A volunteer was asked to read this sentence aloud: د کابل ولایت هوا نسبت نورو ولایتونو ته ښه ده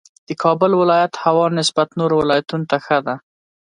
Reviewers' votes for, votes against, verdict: 2, 0, accepted